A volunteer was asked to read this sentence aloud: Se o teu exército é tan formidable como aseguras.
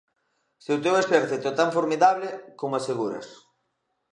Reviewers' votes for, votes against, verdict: 3, 1, accepted